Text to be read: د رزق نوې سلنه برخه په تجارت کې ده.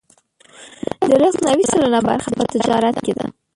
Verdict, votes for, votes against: rejected, 0, 2